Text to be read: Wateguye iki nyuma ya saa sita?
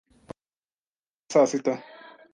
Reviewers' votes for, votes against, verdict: 1, 2, rejected